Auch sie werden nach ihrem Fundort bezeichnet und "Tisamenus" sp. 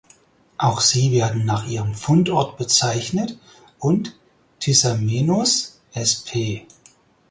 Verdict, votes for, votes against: accepted, 4, 0